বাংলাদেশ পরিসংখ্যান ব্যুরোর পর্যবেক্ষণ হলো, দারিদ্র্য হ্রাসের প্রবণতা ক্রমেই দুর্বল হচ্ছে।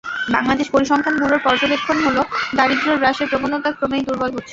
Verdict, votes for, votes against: rejected, 0, 2